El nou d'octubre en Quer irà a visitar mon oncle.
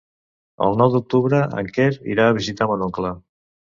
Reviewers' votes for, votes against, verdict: 2, 0, accepted